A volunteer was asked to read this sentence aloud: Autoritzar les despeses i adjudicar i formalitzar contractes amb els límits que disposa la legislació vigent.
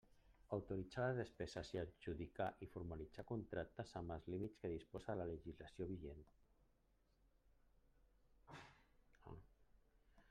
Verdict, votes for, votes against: rejected, 0, 2